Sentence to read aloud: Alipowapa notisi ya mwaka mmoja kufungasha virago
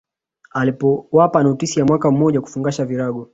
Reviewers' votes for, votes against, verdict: 2, 0, accepted